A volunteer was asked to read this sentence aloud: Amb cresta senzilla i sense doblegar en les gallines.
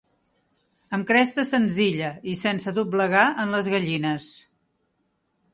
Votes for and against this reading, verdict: 2, 0, accepted